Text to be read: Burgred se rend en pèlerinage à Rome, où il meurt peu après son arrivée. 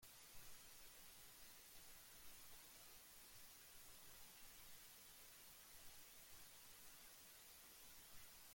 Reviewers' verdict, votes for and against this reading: rejected, 0, 2